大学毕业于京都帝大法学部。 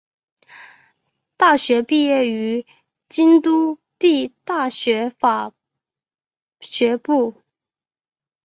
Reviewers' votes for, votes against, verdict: 3, 2, accepted